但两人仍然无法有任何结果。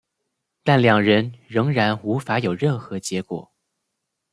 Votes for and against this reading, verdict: 2, 0, accepted